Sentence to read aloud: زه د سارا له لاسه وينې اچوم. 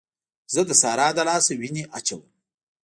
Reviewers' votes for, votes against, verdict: 0, 2, rejected